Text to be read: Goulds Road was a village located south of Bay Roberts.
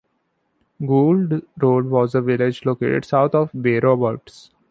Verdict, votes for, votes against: accepted, 2, 0